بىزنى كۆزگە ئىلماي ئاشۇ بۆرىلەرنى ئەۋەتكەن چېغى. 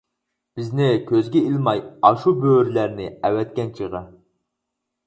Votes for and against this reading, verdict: 4, 0, accepted